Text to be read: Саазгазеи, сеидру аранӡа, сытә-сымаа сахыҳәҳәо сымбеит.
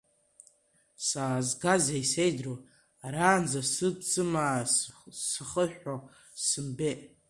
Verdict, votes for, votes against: rejected, 1, 2